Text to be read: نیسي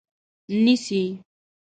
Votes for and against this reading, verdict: 2, 0, accepted